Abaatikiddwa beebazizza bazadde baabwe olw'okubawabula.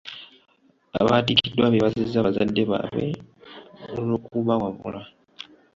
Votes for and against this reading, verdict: 2, 0, accepted